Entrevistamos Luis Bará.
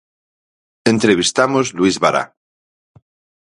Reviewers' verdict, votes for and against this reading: accepted, 6, 0